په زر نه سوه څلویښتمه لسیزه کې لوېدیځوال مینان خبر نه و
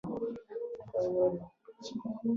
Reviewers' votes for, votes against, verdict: 0, 2, rejected